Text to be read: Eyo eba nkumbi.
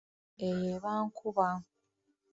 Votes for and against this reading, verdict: 0, 2, rejected